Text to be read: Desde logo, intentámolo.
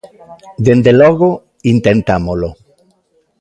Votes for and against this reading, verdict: 0, 2, rejected